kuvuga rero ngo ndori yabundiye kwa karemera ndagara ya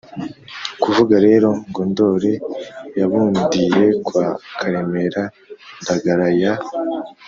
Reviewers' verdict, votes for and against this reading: accepted, 2, 1